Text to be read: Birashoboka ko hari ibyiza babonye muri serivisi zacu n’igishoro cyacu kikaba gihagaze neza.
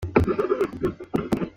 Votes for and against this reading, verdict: 0, 2, rejected